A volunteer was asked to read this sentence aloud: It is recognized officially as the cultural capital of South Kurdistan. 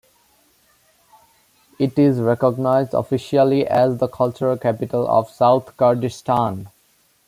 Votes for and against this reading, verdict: 2, 0, accepted